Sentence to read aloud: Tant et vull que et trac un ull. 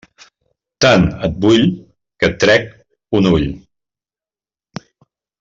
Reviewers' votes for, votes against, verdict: 0, 2, rejected